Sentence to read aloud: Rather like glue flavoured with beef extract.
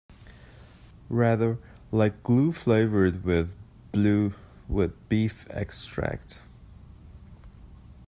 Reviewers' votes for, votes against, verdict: 1, 2, rejected